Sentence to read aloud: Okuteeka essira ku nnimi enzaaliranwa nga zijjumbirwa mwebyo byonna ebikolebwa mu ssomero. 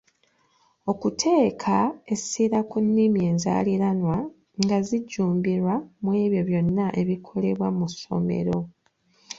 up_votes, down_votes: 2, 0